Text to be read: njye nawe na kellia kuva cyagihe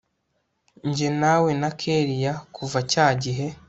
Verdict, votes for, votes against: accepted, 2, 0